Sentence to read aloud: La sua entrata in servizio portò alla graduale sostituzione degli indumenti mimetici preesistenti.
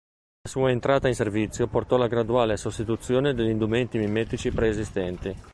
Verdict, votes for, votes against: rejected, 1, 2